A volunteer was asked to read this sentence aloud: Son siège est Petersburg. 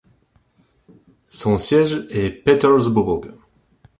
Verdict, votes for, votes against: accepted, 2, 0